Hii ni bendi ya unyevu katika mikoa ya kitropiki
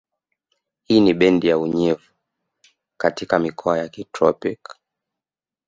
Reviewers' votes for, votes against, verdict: 1, 2, rejected